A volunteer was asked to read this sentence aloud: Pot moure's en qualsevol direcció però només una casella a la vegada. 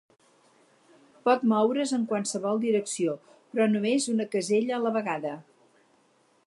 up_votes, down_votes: 4, 0